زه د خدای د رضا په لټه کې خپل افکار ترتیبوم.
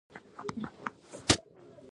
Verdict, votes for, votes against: rejected, 1, 2